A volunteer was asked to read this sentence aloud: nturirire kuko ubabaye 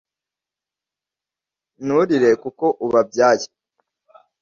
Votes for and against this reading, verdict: 1, 2, rejected